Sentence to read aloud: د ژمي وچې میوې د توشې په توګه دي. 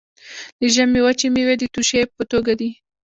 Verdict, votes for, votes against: accepted, 2, 0